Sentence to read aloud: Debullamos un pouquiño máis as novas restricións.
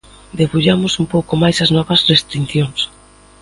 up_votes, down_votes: 0, 2